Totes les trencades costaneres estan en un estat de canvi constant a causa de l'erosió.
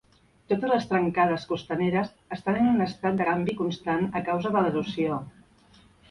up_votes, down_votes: 1, 2